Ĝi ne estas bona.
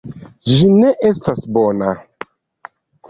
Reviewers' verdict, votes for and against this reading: accepted, 2, 0